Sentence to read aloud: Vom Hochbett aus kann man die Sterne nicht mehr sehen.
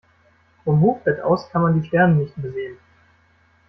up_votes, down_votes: 1, 2